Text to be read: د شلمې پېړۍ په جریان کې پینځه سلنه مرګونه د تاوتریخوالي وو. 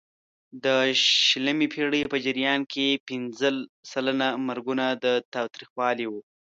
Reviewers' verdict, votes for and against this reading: accepted, 2, 1